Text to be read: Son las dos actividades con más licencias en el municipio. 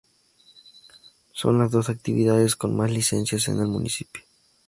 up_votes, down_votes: 4, 0